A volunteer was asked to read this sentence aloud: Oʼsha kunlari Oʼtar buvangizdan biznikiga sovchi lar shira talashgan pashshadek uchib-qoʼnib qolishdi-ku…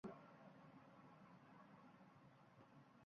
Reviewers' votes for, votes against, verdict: 1, 2, rejected